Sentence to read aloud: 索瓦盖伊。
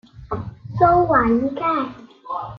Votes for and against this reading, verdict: 0, 2, rejected